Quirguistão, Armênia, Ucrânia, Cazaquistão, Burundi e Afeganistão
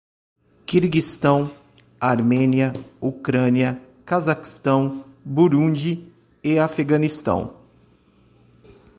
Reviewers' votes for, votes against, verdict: 2, 0, accepted